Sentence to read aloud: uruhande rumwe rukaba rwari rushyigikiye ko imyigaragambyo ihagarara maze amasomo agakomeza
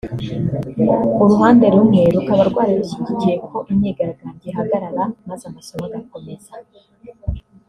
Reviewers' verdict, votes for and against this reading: rejected, 0, 2